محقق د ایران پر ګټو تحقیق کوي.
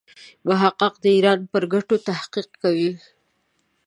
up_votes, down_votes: 2, 0